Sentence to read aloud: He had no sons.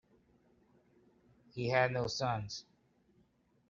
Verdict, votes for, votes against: accepted, 2, 0